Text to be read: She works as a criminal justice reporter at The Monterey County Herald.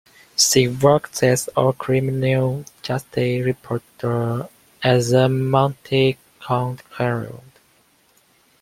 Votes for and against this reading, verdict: 0, 2, rejected